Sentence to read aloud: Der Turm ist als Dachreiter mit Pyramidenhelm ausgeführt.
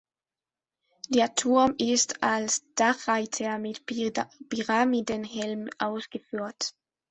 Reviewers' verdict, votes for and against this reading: rejected, 1, 2